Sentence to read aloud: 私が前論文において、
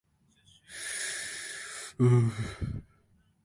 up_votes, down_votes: 0, 3